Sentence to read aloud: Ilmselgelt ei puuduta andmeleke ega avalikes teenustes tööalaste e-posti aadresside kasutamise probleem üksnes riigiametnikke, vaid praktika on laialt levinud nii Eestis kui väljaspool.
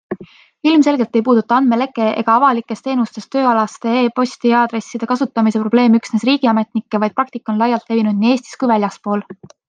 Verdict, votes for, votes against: accepted, 2, 0